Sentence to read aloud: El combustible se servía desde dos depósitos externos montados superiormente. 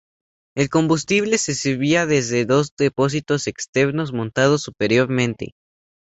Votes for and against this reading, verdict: 2, 0, accepted